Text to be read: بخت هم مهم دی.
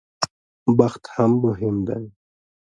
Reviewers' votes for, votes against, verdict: 2, 1, accepted